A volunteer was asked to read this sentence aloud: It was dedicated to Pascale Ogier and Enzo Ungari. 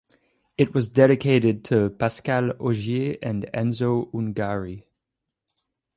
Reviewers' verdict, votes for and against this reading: accepted, 4, 0